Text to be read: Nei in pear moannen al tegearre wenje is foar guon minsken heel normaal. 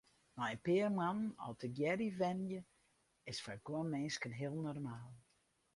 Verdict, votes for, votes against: rejected, 0, 4